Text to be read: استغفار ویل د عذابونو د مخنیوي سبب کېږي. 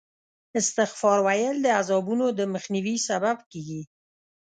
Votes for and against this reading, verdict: 2, 0, accepted